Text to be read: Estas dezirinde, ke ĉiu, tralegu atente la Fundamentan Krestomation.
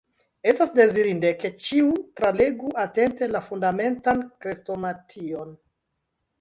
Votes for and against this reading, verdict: 1, 2, rejected